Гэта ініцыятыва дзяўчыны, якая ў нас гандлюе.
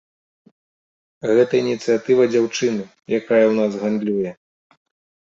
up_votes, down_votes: 2, 0